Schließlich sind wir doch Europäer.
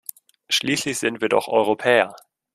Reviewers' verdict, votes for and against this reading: accepted, 2, 1